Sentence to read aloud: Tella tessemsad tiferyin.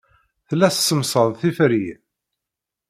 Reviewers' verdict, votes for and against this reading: accepted, 2, 0